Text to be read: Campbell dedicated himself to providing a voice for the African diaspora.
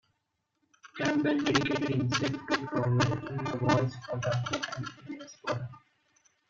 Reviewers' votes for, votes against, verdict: 1, 2, rejected